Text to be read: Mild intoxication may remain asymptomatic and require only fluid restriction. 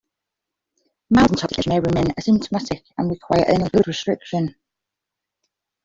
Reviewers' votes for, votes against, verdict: 1, 2, rejected